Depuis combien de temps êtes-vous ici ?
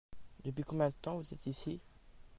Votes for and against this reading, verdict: 1, 2, rejected